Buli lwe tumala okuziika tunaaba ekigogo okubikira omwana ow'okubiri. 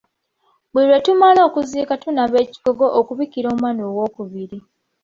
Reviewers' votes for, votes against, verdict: 2, 0, accepted